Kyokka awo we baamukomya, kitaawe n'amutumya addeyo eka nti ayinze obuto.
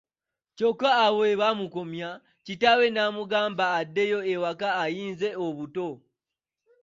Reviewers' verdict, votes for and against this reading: rejected, 1, 2